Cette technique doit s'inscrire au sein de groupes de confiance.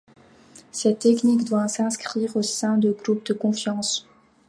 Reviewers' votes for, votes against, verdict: 0, 2, rejected